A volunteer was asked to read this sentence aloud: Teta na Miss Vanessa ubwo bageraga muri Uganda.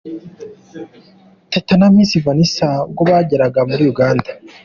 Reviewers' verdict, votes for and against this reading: accepted, 2, 0